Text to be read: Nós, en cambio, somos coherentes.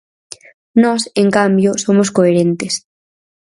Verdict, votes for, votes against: accepted, 4, 0